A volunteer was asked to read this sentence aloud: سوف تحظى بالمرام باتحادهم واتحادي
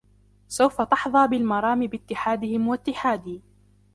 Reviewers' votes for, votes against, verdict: 1, 2, rejected